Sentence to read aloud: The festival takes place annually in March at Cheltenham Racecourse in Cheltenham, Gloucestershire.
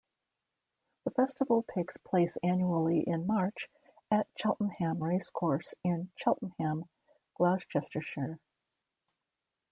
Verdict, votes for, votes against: accepted, 2, 1